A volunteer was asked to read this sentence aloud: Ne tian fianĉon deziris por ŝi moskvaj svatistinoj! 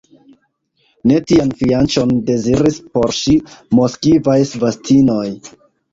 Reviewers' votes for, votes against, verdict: 2, 1, accepted